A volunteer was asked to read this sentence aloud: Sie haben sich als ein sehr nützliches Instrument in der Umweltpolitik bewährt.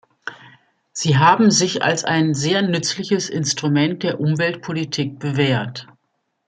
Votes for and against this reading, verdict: 1, 2, rejected